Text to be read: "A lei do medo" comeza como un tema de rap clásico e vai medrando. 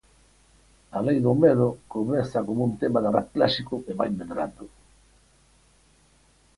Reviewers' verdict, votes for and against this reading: accepted, 4, 0